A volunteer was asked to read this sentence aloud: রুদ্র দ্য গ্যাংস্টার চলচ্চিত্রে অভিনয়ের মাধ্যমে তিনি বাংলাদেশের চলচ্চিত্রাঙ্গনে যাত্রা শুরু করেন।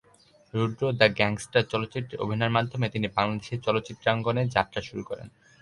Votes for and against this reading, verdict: 4, 0, accepted